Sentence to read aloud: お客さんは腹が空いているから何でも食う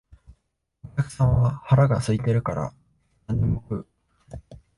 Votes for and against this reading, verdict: 0, 2, rejected